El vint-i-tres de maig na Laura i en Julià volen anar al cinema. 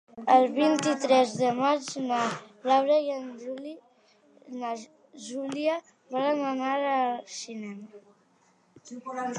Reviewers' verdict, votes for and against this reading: rejected, 0, 4